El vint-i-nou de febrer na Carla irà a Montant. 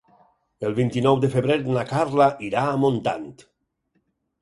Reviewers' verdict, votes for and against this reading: accepted, 4, 0